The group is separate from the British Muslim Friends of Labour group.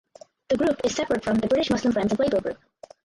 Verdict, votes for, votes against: rejected, 0, 4